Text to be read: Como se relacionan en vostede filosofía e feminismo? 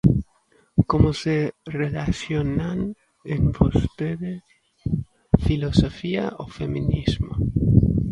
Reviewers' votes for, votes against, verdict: 0, 2, rejected